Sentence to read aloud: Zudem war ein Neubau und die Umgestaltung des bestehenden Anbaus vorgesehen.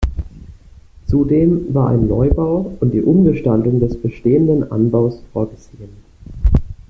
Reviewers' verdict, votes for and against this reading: rejected, 1, 2